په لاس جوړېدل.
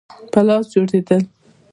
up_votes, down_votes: 1, 2